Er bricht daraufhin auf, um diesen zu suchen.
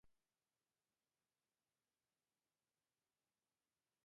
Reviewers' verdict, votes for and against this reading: rejected, 0, 2